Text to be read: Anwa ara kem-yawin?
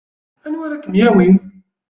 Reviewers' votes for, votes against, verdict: 1, 2, rejected